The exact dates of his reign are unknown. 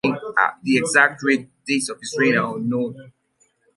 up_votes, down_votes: 0, 2